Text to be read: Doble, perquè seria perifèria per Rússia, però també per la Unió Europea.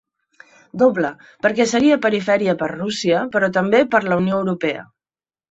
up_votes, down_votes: 2, 0